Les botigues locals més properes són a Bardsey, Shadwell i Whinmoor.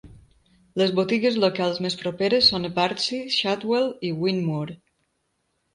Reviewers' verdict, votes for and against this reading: accepted, 2, 0